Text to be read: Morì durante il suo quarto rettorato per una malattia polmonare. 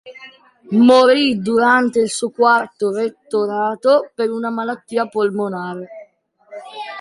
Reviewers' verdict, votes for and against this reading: accepted, 2, 0